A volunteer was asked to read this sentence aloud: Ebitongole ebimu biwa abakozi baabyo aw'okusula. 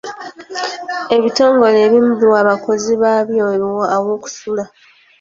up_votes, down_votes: 3, 0